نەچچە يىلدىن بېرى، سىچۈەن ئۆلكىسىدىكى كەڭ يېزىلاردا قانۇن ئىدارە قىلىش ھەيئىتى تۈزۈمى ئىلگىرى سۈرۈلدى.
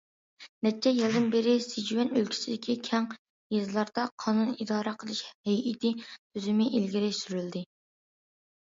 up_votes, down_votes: 2, 0